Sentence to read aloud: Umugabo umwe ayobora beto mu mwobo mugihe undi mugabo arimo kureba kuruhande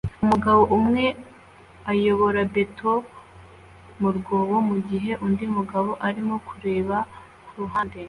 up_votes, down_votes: 2, 0